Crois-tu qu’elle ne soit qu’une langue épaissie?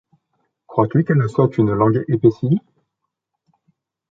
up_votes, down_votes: 0, 2